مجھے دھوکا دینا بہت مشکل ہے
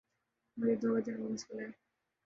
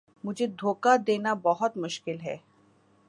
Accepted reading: second